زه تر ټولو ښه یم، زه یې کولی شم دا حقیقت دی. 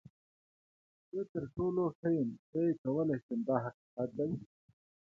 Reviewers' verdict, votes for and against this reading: accepted, 2, 0